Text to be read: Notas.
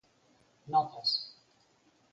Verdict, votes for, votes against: accepted, 6, 0